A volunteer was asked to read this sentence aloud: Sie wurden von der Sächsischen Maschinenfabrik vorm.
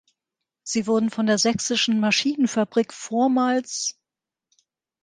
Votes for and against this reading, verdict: 3, 1, accepted